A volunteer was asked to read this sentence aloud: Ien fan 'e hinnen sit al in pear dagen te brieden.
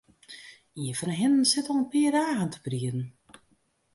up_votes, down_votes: 2, 0